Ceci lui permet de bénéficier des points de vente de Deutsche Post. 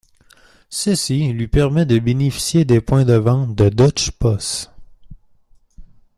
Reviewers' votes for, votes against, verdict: 1, 3, rejected